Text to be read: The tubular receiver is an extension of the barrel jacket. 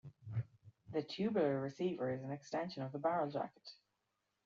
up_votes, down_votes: 2, 1